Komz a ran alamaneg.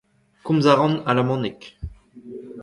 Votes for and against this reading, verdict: 2, 1, accepted